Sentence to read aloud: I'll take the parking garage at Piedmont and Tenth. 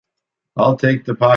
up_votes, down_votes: 0, 2